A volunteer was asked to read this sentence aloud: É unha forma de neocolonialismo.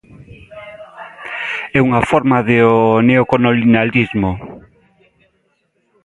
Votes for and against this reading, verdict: 0, 2, rejected